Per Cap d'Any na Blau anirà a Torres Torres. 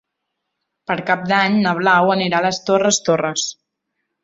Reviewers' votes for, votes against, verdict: 1, 2, rejected